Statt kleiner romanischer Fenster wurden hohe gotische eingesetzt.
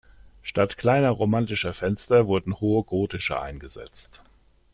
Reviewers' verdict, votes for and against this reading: accepted, 2, 1